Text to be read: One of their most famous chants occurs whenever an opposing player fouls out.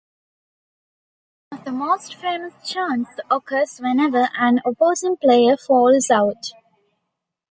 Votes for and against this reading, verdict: 0, 2, rejected